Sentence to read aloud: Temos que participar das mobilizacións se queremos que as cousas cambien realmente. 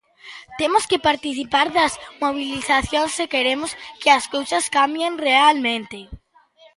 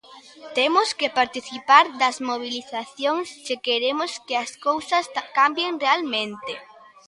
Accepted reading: first